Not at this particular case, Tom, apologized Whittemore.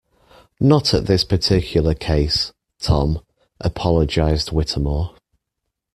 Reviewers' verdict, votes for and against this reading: accepted, 2, 0